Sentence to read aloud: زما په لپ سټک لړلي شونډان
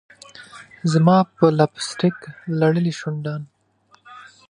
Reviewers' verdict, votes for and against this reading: accepted, 2, 0